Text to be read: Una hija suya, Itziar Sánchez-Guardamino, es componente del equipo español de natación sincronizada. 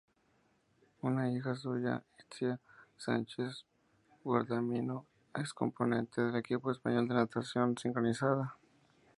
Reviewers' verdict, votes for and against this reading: rejected, 0, 6